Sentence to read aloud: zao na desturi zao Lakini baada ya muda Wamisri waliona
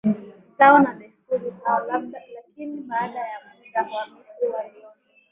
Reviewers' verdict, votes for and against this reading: accepted, 5, 4